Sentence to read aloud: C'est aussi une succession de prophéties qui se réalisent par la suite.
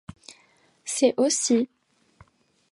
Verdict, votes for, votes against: rejected, 1, 2